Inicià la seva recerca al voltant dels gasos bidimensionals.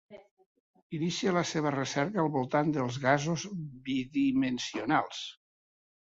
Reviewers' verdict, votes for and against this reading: rejected, 1, 2